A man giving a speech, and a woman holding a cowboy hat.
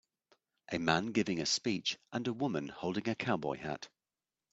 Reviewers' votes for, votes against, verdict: 2, 0, accepted